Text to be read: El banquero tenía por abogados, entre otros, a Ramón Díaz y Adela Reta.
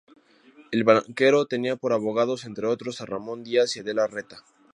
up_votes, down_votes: 2, 0